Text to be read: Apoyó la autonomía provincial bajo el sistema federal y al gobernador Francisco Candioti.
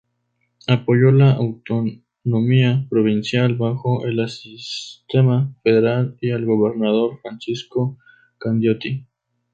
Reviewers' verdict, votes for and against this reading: rejected, 0, 4